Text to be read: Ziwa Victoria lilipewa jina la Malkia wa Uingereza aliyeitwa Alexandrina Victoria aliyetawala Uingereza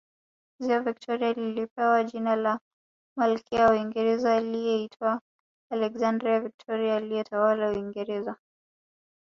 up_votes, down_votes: 2, 0